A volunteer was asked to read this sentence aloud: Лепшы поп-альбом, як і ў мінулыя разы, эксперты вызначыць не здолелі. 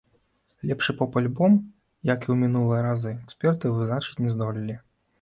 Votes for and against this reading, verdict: 2, 1, accepted